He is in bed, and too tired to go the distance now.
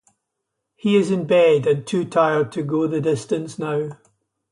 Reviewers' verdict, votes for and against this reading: accepted, 2, 0